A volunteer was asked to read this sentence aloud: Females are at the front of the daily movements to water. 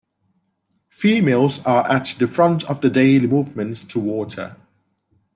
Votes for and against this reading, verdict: 2, 0, accepted